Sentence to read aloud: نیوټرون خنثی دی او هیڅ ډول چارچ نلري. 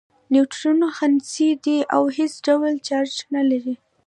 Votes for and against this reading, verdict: 2, 0, accepted